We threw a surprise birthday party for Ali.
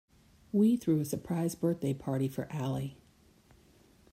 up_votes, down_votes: 1, 2